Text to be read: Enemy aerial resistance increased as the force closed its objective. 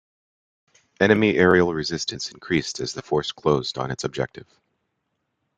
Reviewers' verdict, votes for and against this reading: accepted, 2, 0